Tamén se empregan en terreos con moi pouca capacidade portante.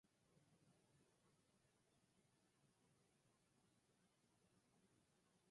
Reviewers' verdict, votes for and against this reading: rejected, 0, 4